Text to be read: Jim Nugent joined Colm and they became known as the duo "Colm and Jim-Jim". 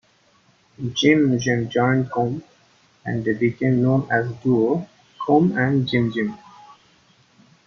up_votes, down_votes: 1, 2